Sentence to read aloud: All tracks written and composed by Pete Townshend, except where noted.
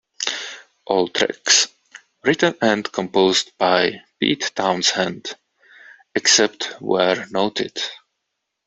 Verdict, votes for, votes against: accepted, 2, 0